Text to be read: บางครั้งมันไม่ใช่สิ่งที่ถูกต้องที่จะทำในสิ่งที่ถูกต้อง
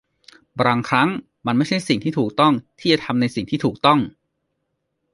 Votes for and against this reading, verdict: 0, 2, rejected